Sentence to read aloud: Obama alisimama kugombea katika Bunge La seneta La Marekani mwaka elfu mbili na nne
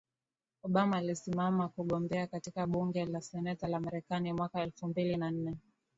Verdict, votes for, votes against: accepted, 2, 0